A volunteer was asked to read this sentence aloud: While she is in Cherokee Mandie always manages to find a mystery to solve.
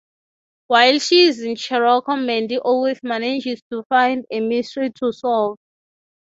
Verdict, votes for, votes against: accepted, 6, 0